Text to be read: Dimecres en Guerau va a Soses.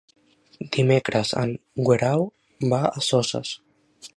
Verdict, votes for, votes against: rejected, 0, 2